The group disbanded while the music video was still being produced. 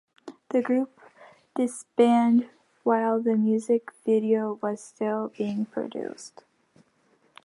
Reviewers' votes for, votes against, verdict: 3, 2, accepted